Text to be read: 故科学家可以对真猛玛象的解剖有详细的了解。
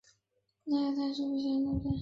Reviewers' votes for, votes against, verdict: 0, 5, rejected